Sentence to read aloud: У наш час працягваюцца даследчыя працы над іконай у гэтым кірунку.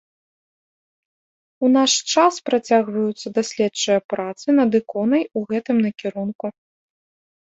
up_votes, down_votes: 0, 2